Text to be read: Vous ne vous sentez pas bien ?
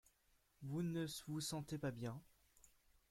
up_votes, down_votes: 0, 2